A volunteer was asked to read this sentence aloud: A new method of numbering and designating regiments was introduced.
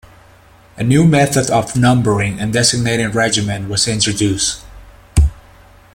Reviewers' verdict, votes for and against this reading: rejected, 0, 2